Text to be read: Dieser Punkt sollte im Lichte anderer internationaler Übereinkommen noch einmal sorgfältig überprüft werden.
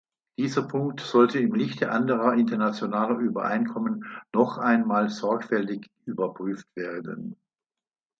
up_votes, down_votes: 2, 0